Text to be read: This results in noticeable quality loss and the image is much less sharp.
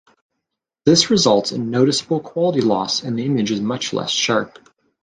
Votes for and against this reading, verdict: 2, 0, accepted